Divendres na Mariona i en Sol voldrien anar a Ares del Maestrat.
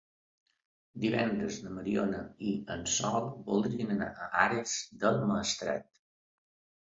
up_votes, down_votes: 2, 1